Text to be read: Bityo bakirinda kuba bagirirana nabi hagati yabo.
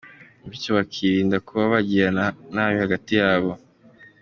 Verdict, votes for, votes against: accepted, 2, 0